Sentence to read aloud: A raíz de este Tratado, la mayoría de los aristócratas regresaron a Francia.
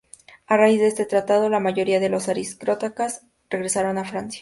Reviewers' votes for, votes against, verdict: 0, 2, rejected